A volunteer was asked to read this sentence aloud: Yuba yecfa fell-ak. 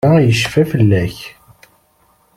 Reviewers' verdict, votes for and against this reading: rejected, 0, 2